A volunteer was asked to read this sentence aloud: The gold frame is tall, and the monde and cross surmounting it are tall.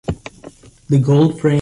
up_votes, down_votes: 0, 2